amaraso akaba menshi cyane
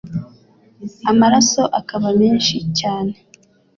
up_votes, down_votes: 2, 0